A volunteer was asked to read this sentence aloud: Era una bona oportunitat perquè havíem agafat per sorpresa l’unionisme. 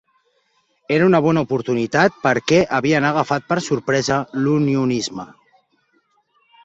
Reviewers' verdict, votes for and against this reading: rejected, 0, 2